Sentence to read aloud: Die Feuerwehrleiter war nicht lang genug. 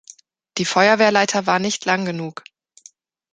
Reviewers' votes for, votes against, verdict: 0, 2, rejected